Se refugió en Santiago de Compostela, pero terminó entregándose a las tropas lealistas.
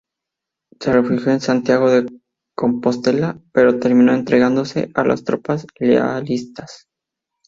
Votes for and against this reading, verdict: 0, 2, rejected